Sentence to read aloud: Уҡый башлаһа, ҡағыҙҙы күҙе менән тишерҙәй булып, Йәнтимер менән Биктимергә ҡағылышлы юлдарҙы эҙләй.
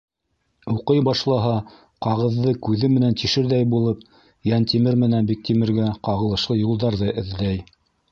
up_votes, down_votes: 2, 0